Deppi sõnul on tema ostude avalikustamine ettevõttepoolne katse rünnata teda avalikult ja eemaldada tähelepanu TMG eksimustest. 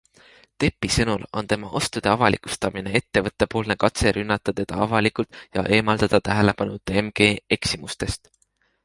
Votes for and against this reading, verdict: 3, 0, accepted